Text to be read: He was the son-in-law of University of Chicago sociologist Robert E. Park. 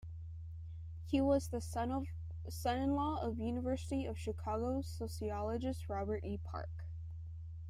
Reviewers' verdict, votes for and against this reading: rejected, 0, 2